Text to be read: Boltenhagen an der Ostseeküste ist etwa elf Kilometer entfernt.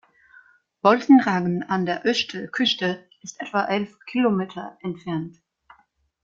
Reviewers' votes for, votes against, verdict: 0, 2, rejected